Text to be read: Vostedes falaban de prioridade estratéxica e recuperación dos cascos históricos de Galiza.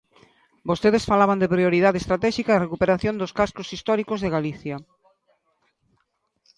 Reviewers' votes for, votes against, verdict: 1, 2, rejected